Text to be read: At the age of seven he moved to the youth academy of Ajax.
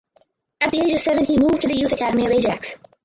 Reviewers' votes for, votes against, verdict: 0, 4, rejected